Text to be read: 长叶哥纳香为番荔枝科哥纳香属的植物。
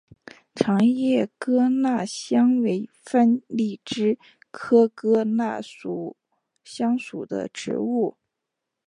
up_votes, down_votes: 6, 2